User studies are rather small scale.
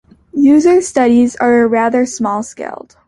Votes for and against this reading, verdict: 1, 2, rejected